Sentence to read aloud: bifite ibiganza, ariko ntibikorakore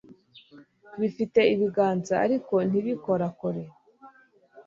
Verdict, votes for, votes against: accepted, 2, 0